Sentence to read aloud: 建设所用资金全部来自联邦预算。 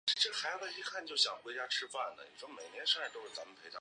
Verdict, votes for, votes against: rejected, 0, 2